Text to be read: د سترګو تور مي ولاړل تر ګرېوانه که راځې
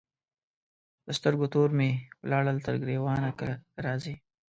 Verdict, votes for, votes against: rejected, 1, 2